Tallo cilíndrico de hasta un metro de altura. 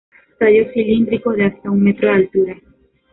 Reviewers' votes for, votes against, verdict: 0, 2, rejected